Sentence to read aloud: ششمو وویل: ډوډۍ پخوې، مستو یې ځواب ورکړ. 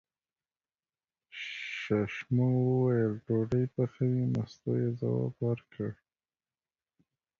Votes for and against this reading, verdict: 2, 0, accepted